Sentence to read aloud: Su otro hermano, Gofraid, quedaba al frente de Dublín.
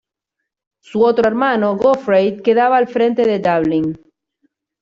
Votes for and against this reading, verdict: 1, 2, rejected